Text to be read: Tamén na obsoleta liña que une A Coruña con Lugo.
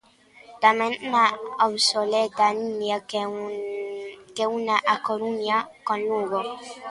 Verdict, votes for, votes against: rejected, 0, 2